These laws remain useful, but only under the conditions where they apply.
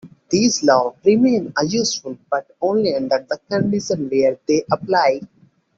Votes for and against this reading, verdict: 0, 2, rejected